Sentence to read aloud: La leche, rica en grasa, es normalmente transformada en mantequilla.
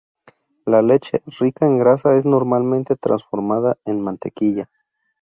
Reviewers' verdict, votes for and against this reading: accepted, 2, 0